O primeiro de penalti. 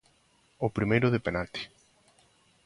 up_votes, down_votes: 2, 0